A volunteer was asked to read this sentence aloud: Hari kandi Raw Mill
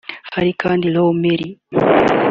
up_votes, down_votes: 2, 0